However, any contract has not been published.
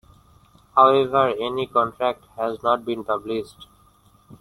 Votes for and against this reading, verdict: 2, 1, accepted